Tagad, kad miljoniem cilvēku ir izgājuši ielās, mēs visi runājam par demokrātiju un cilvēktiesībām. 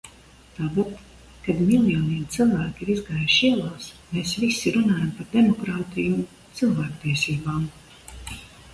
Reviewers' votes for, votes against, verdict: 2, 0, accepted